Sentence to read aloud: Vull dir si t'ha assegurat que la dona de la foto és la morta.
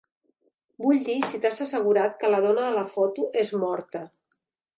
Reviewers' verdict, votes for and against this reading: rejected, 0, 2